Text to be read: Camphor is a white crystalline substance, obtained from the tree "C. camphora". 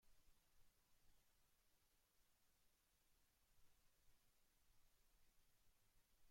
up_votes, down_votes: 0, 2